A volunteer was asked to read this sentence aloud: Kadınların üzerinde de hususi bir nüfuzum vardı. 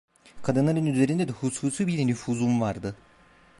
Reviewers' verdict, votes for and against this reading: rejected, 1, 2